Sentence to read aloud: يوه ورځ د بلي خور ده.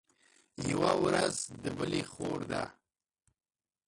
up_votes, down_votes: 1, 2